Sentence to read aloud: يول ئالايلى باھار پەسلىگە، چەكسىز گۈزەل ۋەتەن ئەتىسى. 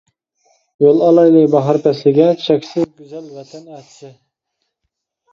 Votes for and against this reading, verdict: 2, 1, accepted